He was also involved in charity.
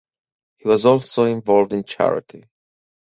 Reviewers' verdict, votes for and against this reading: accepted, 4, 0